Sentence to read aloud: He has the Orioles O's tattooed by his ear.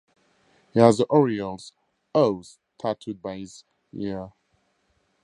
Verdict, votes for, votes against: rejected, 2, 4